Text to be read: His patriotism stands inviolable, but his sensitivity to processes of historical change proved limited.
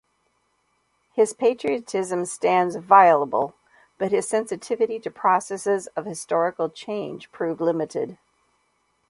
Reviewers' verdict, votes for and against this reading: rejected, 1, 2